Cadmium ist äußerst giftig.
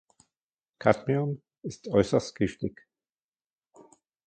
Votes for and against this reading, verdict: 2, 0, accepted